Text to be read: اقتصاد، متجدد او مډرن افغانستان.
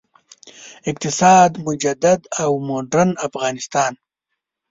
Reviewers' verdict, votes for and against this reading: rejected, 1, 2